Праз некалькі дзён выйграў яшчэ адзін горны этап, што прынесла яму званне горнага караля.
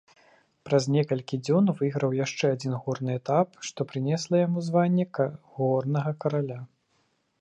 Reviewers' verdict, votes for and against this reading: rejected, 1, 2